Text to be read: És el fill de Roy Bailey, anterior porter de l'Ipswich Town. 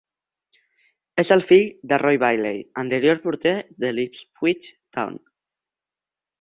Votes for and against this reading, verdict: 5, 0, accepted